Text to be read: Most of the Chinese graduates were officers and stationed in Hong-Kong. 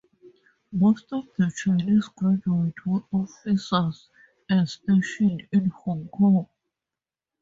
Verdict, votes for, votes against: accepted, 2, 0